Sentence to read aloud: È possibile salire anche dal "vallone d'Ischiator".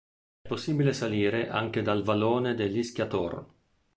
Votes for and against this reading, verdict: 0, 2, rejected